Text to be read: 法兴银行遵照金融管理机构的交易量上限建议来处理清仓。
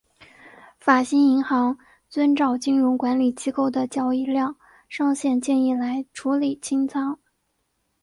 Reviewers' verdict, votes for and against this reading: accepted, 4, 0